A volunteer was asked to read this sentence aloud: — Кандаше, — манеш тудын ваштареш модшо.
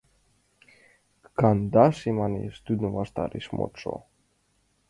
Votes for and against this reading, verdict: 2, 1, accepted